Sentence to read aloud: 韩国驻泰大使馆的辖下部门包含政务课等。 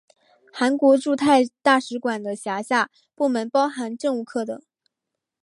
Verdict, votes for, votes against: accepted, 3, 0